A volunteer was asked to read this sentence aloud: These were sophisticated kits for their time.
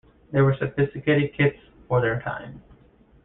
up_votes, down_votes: 0, 2